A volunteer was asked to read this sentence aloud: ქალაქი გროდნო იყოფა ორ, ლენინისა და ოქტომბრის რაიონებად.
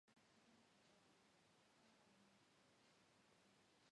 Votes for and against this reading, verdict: 1, 2, rejected